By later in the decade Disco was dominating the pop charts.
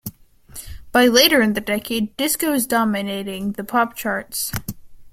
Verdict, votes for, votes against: accepted, 2, 0